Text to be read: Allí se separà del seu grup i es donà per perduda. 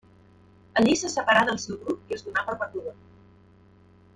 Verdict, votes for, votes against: rejected, 1, 2